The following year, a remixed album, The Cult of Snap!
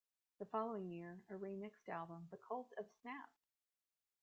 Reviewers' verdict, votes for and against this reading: rejected, 0, 2